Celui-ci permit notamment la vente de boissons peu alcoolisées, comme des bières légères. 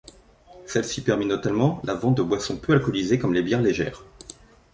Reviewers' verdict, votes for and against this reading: rejected, 1, 2